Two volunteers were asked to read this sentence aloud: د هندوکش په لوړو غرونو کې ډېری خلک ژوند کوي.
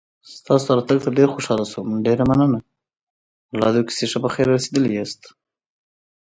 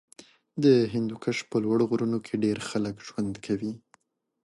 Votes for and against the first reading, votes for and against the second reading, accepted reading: 0, 2, 2, 0, second